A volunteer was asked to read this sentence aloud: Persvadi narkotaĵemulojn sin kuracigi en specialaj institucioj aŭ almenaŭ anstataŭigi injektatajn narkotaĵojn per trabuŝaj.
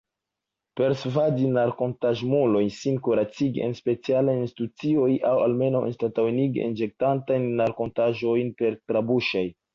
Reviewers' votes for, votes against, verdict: 2, 0, accepted